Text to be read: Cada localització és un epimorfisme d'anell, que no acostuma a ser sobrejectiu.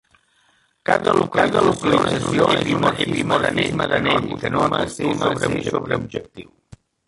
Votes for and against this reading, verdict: 0, 2, rejected